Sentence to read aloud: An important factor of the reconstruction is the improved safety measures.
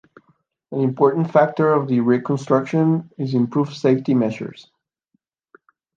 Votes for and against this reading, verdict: 2, 0, accepted